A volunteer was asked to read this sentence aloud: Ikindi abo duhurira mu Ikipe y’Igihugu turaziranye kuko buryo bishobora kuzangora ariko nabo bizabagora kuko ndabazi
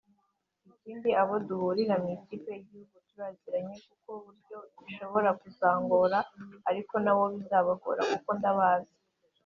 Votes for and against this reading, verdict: 2, 1, accepted